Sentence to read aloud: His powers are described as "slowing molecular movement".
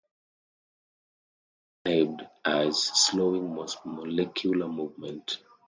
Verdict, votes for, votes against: rejected, 0, 2